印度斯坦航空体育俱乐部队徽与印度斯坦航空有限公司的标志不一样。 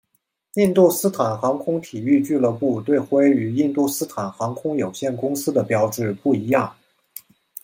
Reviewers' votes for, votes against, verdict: 2, 0, accepted